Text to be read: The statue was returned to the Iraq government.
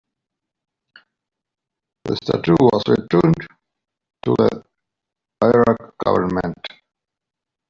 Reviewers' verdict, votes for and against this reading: rejected, 1, 2